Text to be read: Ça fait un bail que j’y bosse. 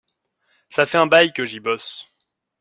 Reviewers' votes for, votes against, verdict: 2, 0, accepted